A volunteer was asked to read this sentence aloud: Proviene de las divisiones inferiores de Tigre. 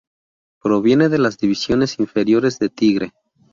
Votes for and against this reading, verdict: 2, 0, accepted